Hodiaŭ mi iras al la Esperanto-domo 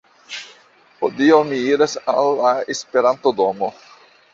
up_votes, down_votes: 2, 0